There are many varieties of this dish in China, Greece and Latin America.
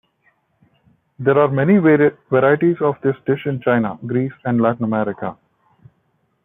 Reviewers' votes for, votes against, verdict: 0, 2, rejected